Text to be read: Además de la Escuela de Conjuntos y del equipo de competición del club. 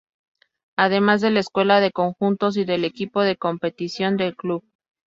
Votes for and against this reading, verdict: 2, 0, accepted